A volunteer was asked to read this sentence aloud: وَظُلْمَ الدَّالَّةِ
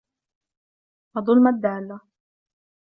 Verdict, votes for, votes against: rejected, 0, 2